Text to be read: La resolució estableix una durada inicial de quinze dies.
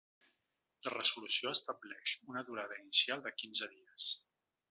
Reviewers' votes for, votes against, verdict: 1, 2, rejected